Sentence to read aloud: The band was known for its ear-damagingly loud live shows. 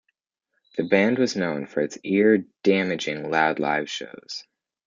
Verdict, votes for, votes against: rejected, 0, 2